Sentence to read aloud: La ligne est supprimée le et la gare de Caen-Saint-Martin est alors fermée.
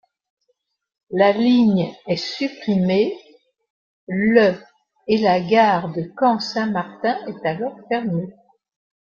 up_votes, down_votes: 1, 2